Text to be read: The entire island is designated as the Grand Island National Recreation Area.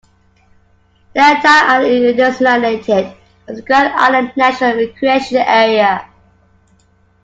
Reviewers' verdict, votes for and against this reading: accepted, 2, 1